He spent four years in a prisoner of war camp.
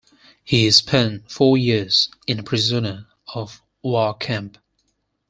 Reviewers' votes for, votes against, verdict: 4, 0, accepted